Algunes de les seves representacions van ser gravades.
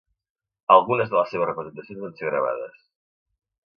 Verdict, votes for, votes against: rejected, 1, 2